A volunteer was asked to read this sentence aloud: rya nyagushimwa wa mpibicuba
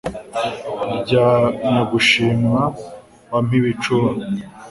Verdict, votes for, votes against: accepted, 3, 0